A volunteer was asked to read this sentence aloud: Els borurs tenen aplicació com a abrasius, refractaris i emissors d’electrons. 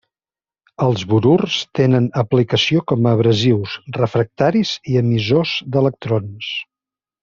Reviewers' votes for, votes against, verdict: 2, 0, accepted